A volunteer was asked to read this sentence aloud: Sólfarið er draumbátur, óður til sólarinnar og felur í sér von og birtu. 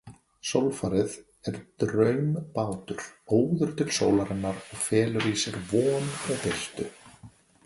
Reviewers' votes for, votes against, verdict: 1, 2, rejected